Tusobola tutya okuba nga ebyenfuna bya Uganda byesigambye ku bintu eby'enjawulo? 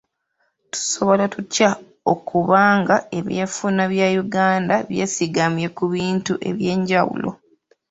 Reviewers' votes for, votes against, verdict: 2, 0, accepted